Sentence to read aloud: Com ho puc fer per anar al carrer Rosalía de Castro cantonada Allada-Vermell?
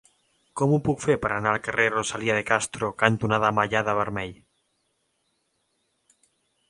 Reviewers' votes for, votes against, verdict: 0, 2, rejected